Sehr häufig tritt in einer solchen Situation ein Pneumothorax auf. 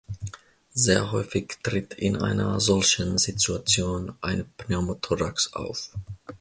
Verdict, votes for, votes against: accepted, 2, 0